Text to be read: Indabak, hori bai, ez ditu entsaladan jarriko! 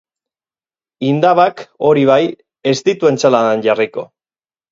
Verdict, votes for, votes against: accepted, 6, 0